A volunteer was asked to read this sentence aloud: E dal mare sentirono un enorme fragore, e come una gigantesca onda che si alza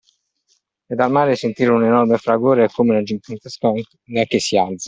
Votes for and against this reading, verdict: 0, 2, rejected